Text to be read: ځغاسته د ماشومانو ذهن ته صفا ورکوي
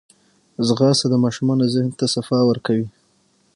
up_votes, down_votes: 3, 6